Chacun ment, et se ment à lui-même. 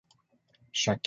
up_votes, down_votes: 0, 2